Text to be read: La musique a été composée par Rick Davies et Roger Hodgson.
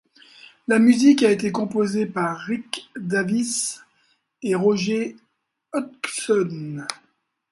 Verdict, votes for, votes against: accepted, 2, 0